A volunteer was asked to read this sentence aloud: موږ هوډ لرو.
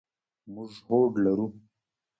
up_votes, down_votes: 1, 2